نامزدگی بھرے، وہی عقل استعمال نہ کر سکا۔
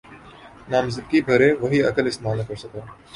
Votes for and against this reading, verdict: 2, 0, accepted